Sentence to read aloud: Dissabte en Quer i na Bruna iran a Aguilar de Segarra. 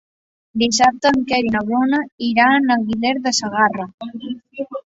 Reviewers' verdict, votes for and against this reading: rejected, 1, 2